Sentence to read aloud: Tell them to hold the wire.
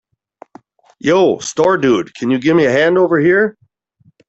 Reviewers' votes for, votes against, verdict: 0, 3, rejected